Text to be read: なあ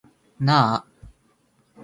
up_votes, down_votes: 2, 0